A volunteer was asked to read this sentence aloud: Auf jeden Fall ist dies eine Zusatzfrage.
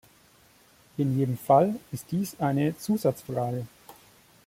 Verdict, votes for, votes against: rejected, 0, 2